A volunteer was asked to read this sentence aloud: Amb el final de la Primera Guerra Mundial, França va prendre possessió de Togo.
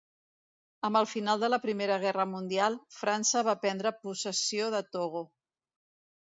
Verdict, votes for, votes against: accepted, 2, 0